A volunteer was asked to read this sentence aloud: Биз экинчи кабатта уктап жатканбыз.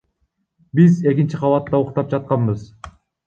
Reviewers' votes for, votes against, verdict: 2, 1, accepted